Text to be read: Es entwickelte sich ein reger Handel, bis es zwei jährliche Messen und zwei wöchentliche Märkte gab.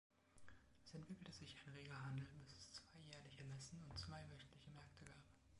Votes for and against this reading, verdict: 0, 2, rejected